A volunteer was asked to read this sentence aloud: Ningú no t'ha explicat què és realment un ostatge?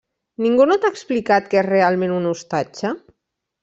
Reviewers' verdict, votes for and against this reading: rejected, 1, 2